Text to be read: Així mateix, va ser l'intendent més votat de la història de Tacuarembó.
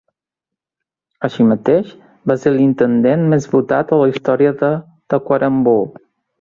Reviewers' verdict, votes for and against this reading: accepted, 3, 0